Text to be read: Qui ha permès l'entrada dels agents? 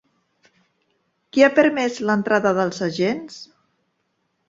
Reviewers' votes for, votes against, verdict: 2, 0, accepted